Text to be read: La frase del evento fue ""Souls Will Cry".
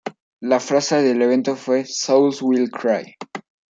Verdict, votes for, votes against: accepted, 2, 1